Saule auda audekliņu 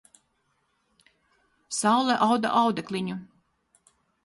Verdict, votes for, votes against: accepted, 4, 0